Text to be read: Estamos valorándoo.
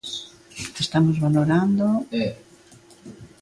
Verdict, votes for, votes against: rejected, 0, 2